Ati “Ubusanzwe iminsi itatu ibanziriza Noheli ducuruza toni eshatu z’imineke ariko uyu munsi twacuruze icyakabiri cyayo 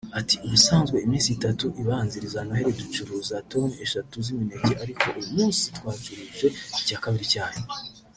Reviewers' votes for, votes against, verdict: 0, 2, rejected